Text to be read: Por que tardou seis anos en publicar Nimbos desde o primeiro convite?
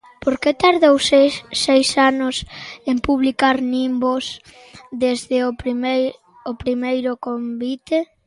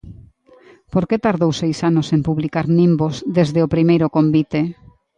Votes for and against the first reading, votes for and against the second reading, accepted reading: 0, 2, 2, 0, second